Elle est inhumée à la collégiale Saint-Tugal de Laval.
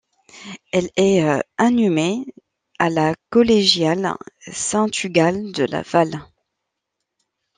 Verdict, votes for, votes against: rejected, 0, 2